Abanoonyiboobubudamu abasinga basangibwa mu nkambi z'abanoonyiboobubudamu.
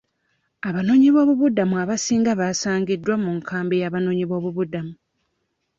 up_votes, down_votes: 0, 2